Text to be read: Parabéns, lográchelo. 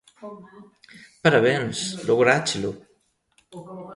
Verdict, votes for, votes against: rejected, 1, 2